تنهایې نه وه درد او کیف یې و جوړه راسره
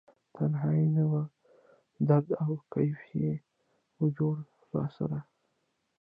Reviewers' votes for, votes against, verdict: 0, 2, rejected